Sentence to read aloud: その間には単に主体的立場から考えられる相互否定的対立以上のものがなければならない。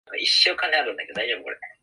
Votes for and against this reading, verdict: 0, 2, rejected